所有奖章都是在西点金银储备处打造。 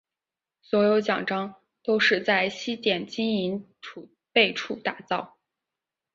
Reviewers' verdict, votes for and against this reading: accepted, 2, 0